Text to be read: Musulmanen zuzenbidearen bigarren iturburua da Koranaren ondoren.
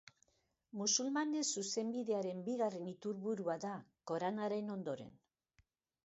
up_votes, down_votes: 2, 0